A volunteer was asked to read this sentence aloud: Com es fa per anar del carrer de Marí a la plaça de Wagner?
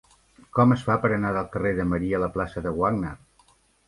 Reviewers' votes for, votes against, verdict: 2, 0, accepted